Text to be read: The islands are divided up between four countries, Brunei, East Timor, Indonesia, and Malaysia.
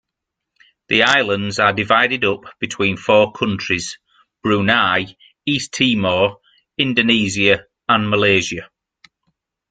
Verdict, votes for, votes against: rejected, 1, 3